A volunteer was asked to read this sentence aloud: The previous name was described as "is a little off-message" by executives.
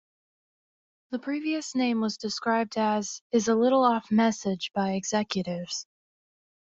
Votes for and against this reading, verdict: 2, 1, accepted